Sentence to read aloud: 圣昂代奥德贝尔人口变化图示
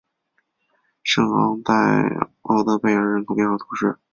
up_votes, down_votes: 4, 0